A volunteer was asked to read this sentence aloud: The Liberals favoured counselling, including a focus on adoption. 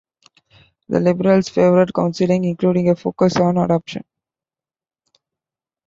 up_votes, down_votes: 2, 0